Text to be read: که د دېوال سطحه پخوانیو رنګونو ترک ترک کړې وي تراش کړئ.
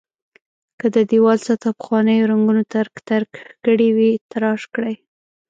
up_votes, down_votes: 1, 2